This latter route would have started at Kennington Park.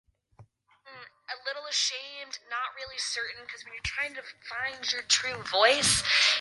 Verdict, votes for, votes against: rejected, 0, 2